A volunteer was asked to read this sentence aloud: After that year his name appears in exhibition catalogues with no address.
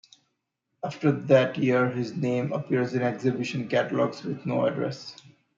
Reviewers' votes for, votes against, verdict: 2, 1, accepted